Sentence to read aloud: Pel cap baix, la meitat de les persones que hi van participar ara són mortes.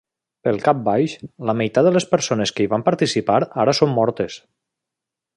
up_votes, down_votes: 3, 0